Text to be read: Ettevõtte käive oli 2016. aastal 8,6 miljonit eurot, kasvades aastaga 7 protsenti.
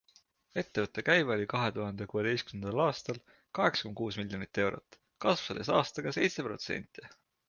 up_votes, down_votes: 0, 2